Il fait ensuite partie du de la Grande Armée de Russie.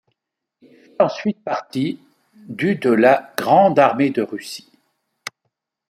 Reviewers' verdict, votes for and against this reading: rejected, 0, 2